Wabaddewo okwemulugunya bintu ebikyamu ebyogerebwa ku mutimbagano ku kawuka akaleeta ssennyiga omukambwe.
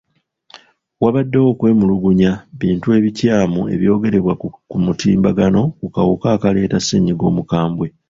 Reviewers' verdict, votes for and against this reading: rejected, 0, 2